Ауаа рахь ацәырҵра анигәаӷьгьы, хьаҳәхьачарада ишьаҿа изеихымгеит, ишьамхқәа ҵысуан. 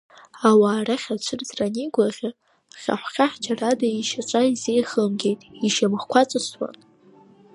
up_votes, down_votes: 1, 2